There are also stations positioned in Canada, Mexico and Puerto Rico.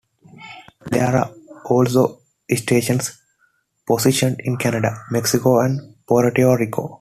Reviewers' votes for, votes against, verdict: 2, 0, accepted